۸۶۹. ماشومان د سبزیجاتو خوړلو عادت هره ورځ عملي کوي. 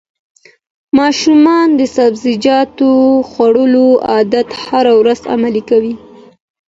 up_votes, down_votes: 0, 2